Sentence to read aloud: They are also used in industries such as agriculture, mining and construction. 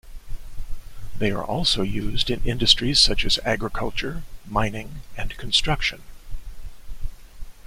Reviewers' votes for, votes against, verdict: 2, 0, accepted